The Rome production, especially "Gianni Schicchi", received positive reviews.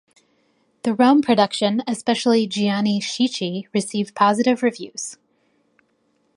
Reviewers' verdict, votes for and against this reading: accepted, 2, 0